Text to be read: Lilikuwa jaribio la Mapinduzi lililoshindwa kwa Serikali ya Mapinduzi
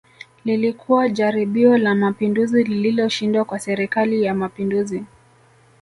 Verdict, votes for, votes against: accepted, 2, 0